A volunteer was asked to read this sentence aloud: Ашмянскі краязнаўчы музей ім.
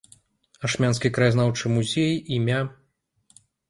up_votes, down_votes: 1, 2